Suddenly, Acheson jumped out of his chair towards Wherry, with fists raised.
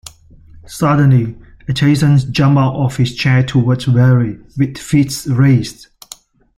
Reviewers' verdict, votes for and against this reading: rejected, 1, 2